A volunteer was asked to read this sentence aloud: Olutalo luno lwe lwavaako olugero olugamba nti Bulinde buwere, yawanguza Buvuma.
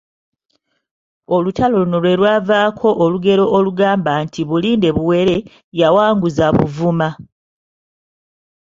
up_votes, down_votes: 2, 0